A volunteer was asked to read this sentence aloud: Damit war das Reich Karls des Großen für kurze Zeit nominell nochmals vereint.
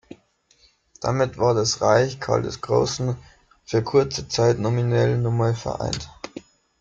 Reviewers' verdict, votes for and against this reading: rejected, 0, 2